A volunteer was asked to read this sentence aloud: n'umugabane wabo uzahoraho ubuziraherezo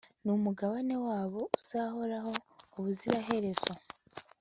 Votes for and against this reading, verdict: 3, 0, accepted